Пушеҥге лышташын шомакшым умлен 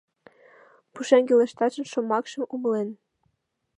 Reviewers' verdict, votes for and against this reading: accepted, 2, 0